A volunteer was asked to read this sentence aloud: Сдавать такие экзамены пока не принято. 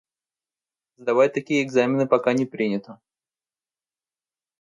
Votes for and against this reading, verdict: 2, 0, accepted